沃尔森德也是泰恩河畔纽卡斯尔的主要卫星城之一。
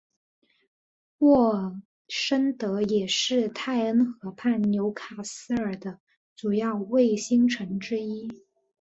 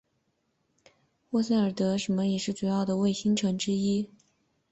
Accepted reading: first